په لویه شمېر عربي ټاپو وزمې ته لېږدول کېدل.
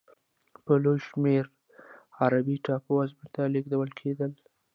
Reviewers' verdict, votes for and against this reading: accepted, 2, 1